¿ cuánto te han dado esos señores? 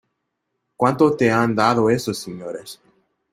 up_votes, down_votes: 2, 1